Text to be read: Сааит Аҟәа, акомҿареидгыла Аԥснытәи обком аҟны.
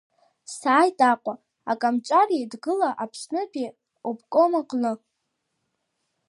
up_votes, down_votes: 2, 0